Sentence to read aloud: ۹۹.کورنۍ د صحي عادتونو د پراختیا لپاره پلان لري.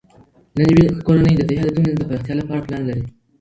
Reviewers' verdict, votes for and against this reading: rejected, 0, 2